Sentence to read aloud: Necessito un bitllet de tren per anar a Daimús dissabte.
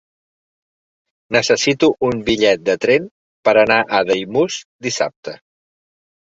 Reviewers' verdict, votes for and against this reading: accepted, 4, 0